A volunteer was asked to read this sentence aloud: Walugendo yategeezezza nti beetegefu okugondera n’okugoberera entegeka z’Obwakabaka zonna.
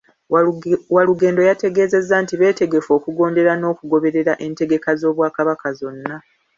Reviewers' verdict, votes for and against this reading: accepted, 2, 0